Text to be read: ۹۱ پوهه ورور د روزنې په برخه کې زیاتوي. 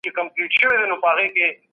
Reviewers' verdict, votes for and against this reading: rejected, 0, 2